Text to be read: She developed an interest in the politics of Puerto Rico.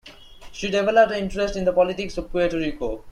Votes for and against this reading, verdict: 1, 2, rejected